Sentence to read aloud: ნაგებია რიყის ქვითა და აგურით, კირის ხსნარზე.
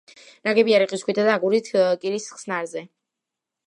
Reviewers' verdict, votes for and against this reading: rejected, 1, 2